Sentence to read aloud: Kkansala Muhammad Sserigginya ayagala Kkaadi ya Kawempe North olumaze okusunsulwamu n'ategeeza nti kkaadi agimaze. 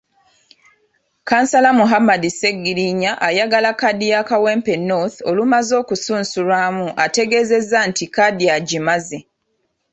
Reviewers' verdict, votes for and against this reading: accepted, 2, 0